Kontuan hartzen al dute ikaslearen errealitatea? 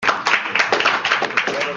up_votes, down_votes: 0, 2